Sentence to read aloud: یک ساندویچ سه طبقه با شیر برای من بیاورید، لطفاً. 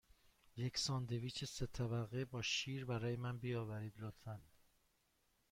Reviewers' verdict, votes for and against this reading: accepted, 2, 0